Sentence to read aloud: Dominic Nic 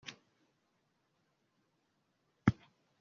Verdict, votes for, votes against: rejected, 0, 2